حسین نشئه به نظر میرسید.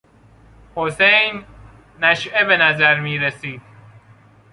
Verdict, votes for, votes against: accepted, 2, 0